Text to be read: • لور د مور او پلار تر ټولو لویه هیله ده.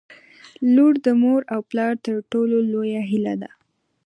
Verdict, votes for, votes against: accepted, 2, 0